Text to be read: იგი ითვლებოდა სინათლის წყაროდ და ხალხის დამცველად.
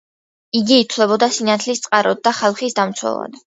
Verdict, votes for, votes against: accepted, 2, 0